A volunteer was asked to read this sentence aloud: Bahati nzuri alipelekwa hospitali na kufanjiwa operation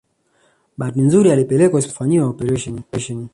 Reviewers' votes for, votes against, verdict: 2, 0, accepted